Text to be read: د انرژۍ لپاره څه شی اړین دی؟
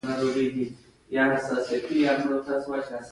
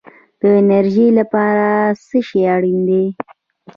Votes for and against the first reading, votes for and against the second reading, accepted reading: 1, 2, 2, 0, second